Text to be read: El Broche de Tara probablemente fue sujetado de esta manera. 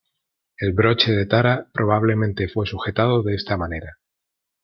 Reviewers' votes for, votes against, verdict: 2, 0, accepted